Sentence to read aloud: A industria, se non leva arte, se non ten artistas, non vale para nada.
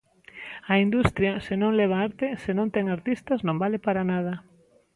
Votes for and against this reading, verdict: 2, 0, accepted